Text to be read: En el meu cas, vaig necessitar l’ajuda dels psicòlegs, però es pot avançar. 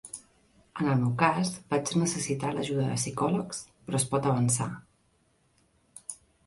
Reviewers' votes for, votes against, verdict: 2, 3, rejected